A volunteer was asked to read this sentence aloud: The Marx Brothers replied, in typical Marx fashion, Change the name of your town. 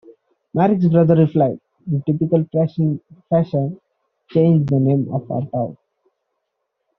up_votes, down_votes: 2, 1